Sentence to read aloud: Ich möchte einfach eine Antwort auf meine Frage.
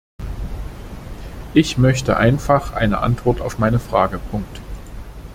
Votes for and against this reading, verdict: 0, 2, rejected